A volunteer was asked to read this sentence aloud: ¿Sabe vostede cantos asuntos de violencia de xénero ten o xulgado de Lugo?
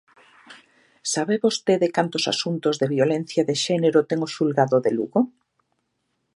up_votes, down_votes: 2, 0